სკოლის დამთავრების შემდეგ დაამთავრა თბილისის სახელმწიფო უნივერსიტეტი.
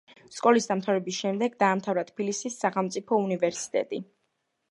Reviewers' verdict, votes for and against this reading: rejected, 1, 2